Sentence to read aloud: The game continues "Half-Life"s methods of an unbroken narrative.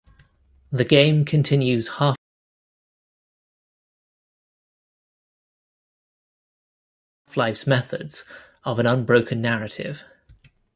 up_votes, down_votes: 0, 2